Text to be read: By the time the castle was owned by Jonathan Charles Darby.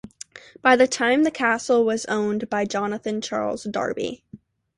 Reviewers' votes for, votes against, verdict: 2, 0, accepted